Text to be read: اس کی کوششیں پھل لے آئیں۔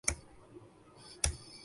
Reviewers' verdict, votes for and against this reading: rejected, 1, 5